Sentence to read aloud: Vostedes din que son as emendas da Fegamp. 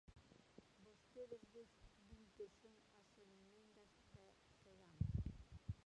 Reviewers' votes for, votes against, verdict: 0, 2, rejected